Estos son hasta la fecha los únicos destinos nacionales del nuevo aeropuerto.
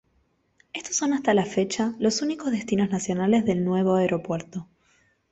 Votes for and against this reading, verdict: 2, 0, accepted